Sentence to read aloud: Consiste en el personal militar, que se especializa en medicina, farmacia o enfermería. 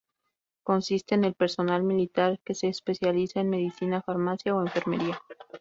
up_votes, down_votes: 2, 2